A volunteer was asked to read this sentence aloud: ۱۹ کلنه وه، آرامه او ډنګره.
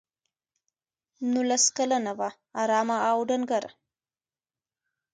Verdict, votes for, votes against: rejected, 0, 2